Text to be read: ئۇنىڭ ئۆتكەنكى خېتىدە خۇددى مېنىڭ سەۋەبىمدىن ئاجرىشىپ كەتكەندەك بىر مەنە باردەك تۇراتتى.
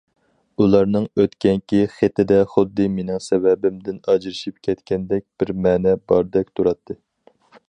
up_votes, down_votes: 0, 4